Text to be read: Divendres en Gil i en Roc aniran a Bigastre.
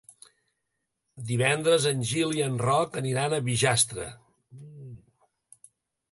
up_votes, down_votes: 1, 2